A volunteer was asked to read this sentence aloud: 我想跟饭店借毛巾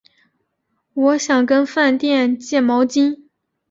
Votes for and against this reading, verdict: 2, 0, accepted